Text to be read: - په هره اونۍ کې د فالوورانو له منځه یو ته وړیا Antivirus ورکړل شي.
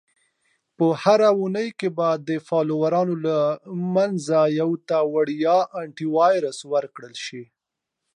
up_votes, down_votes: 2, 1